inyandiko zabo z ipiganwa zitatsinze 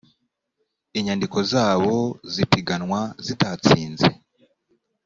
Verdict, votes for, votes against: accepted, 2, 0